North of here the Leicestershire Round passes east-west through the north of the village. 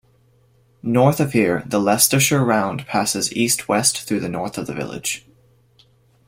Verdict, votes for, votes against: rejected, 1, 2